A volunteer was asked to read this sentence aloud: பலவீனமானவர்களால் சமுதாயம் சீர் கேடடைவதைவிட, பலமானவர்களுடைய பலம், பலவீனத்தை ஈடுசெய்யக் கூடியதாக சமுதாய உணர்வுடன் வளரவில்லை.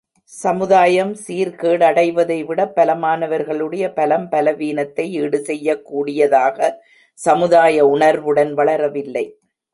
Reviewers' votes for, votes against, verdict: 1, 2, rejected